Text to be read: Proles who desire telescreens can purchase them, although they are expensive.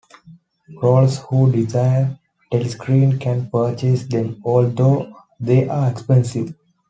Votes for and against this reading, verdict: 0, 2, rejected